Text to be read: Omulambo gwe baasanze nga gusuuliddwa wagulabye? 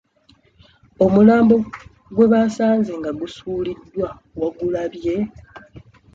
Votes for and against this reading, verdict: 2, 1, accepted